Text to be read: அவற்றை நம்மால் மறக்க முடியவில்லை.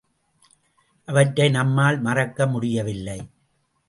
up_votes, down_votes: 2, 0